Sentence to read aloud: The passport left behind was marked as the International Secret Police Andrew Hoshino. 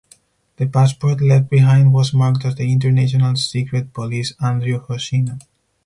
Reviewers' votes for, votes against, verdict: 2, 4, rejected